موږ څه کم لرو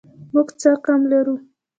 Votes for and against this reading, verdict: 2, 0, accepted